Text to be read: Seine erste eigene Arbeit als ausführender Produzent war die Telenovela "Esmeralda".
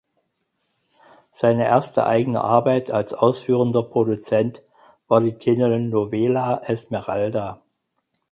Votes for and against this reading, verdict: 4, 2, accepted